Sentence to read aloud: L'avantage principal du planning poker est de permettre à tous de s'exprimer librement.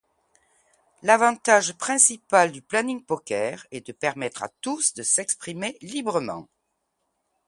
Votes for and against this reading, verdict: 2, 0, accepted